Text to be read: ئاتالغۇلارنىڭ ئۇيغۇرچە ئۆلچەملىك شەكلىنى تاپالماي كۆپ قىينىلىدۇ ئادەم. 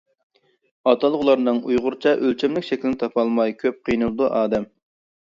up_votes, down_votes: 2, 0